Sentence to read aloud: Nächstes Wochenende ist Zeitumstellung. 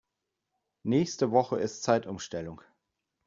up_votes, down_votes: 0, 2